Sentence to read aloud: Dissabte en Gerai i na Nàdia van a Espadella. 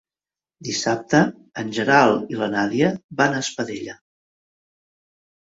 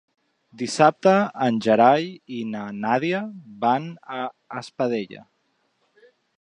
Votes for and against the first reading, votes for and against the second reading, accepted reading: 1, 2, 3, 0, second